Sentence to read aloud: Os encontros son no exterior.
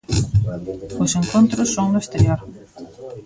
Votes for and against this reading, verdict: 1, 2, rejected